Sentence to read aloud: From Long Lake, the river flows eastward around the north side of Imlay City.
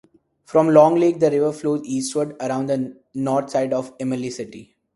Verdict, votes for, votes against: accepted, 2, 0